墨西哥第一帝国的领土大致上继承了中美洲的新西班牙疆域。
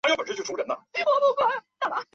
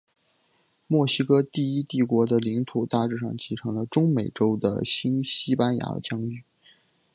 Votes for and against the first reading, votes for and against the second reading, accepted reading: 1, 4, 3, 0, second